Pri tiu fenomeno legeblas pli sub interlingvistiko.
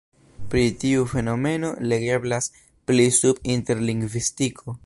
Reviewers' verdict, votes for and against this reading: accepted, 2, 0